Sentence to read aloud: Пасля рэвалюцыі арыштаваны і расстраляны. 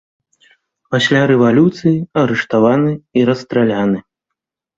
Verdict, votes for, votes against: accepted, 2, 0